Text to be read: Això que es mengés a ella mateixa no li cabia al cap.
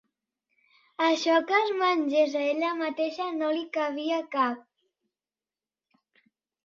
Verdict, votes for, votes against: rejected, 1, 3